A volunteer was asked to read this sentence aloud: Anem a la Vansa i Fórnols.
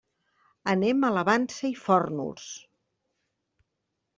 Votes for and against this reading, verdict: 2, 1, accepted